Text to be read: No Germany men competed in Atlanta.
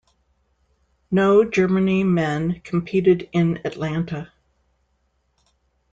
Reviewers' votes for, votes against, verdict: 2, 0, accepted